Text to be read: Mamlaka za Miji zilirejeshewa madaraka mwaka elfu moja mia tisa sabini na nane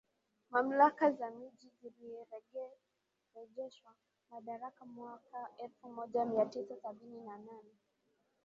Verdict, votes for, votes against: accepted, 2, 1